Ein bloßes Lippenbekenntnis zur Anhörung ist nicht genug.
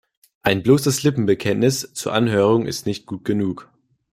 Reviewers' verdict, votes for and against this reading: rejected, 0, 2